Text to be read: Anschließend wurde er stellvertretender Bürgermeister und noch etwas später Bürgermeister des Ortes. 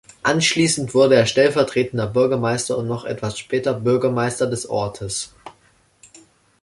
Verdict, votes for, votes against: accepted, 2, 0